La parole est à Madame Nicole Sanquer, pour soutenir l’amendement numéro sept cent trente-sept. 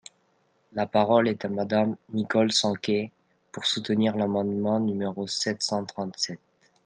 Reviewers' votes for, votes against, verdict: 2, 0, accepted